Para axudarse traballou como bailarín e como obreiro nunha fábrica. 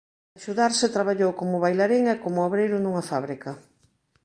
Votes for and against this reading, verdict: 0, 2, rejected